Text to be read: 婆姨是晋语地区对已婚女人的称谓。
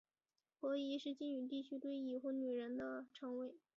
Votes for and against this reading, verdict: 3, 0, accepted